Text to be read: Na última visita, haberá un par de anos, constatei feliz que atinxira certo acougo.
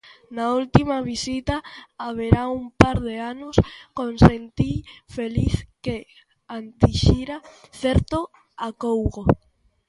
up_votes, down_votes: 0, 2